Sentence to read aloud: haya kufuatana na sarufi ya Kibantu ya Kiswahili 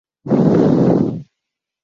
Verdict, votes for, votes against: rejected, 0, 2